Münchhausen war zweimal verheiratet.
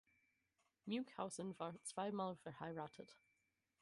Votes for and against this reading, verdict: 4, 2, accepted